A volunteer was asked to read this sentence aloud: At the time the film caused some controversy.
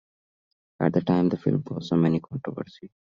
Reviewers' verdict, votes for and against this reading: accepted, 2, 1